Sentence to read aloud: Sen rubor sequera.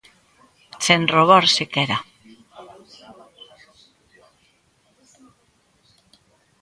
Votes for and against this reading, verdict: 1, 2, rejected